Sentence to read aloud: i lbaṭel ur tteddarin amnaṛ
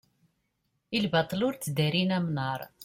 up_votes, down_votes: 2, 0